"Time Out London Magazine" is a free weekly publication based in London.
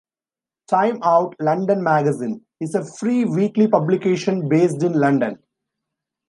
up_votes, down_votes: 2, 0